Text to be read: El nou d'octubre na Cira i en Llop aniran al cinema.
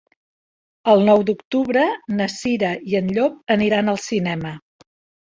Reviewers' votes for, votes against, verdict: 3, 0, accepted